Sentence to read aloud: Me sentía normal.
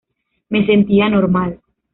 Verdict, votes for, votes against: accepted, 2, 0